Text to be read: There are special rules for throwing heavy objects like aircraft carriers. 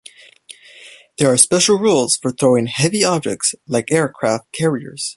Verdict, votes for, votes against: accepted, 2, 0